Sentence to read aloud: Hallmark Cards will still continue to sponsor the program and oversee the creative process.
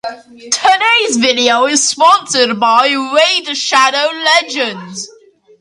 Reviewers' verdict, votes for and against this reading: rejected, 0, 2